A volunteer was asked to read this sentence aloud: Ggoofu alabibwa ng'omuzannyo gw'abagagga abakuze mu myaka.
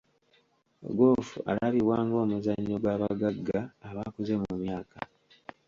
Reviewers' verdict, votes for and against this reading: accepted, 2, 0